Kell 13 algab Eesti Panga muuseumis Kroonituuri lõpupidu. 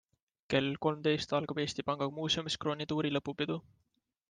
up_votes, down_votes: 0, 2